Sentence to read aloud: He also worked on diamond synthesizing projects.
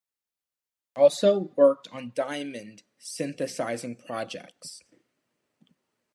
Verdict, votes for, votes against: accepted, 2, 0